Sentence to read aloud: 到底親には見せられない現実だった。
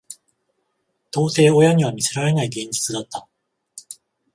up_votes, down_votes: 14, 0